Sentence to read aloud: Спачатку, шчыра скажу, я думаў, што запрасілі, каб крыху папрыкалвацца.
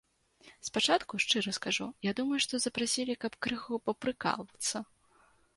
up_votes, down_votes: 1, 2